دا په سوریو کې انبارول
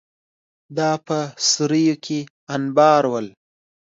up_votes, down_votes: 2, 0